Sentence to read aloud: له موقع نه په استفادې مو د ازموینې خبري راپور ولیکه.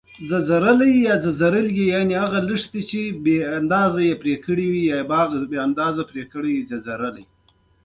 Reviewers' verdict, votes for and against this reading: rejected, 1, 2